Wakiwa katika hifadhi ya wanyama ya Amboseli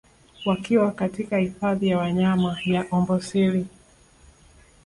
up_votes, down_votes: 5, 1